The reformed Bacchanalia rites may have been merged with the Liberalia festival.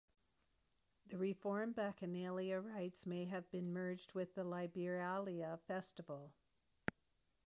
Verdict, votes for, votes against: accepted, 2, 0